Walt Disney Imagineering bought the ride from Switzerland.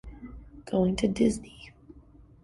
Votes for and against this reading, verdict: 0, 2, rejected